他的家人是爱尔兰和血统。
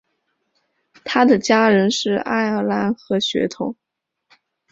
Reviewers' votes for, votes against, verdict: 2, 1, accepted